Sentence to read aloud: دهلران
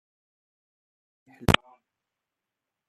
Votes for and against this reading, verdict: 1, 2, rejected